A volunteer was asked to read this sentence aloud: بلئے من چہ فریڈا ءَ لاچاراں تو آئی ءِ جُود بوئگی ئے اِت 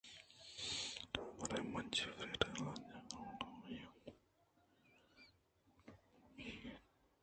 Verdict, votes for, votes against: rejected, 0, 2